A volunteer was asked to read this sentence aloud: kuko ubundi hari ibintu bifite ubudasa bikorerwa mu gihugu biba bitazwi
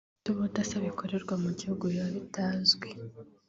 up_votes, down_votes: 3, 0